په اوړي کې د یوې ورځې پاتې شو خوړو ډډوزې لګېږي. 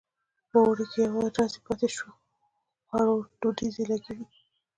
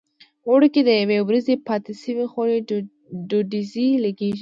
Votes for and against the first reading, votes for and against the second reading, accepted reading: 1, 2, 2, 0, second